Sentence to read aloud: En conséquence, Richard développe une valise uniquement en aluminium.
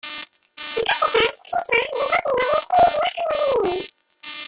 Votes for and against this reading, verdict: 0, 2, rejected